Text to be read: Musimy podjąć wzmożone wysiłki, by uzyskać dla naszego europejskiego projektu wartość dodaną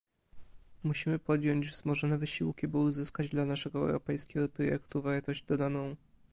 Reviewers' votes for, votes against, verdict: 1, 2, rejected